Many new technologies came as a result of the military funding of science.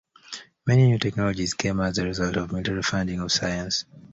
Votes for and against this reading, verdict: 0, 2, rejected